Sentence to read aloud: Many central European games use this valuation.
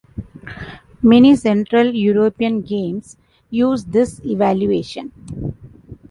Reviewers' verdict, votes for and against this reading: rejected, 0, 2